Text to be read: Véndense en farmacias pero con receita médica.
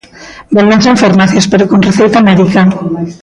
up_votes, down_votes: 1, 2